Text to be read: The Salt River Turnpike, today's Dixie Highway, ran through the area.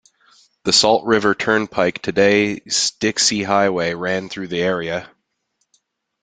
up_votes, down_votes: 0, 2